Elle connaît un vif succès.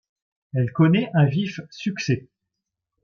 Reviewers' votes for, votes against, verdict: 2, 0, accepted